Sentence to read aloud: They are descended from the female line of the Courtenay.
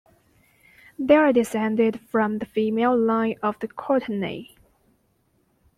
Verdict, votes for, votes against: accepted, 2, 0